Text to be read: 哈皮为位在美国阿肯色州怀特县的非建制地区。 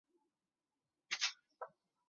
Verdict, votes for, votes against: rejected, 0, 2